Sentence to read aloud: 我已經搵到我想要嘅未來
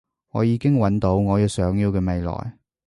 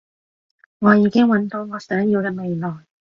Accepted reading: second